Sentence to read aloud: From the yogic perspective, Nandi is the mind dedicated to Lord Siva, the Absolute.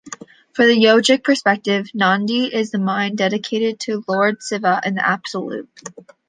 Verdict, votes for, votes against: rejected, 0, 2